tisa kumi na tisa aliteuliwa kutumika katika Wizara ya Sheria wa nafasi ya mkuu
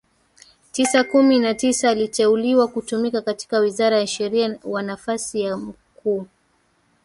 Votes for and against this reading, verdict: 0, 2, rejected